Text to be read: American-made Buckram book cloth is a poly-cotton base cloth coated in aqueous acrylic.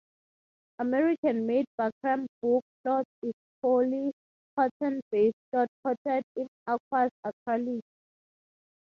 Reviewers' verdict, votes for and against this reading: rejected, 3, 3